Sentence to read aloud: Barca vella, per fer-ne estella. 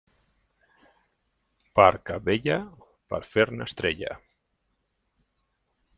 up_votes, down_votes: 0, 2